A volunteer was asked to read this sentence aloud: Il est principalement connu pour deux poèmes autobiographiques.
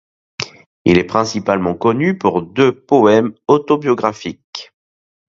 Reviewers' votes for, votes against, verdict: 2, 0, accepted